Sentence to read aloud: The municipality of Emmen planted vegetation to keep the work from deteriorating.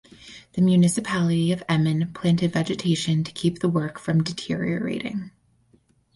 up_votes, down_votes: 4, 0